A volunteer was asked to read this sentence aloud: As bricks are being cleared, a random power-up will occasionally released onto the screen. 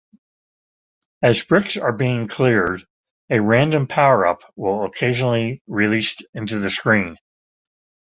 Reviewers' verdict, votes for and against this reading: rejected, 0, 2